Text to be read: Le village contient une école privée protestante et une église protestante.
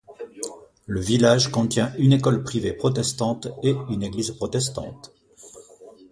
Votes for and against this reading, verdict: 2, 0, accepted